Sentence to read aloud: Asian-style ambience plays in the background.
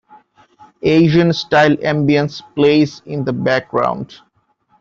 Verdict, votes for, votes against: accepted, 2, 0